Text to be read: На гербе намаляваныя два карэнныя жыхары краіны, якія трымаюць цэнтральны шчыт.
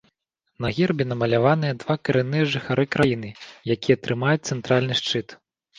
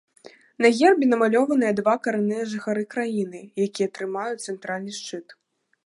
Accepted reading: first